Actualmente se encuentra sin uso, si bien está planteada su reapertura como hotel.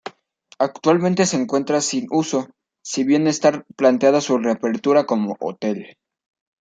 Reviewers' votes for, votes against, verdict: 1, 2, rejected